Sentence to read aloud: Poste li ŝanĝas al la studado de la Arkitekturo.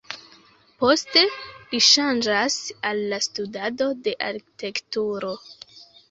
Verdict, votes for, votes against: rejected, 1, 2